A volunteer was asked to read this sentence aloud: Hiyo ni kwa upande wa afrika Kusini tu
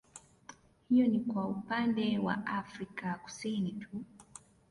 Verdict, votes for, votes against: rejected, 1, 2